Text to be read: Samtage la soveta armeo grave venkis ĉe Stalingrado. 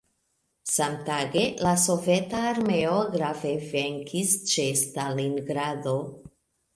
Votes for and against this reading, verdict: 2, 0, accepted